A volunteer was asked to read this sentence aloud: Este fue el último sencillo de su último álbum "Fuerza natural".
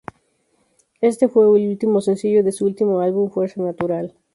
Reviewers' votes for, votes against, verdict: 0, 2, rejected